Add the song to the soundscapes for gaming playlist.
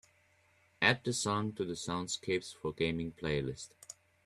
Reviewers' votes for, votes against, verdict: 2, 0, accepted